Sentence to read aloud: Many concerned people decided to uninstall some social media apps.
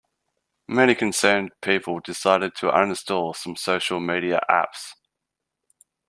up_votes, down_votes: 2, 0